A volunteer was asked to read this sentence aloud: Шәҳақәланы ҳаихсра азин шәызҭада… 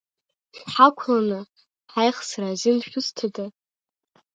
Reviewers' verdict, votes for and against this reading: rejected, 0, 2